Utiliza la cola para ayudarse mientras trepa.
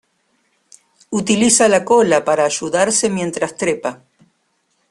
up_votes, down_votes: 0, 2